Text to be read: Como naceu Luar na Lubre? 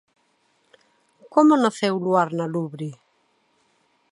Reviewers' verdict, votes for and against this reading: accepted, 2, 0